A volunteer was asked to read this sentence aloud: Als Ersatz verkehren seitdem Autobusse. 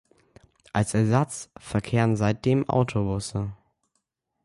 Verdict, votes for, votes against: accepted, 2, 0